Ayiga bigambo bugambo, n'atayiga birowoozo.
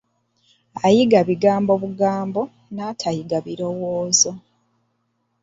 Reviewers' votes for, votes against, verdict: 2, 0, accepted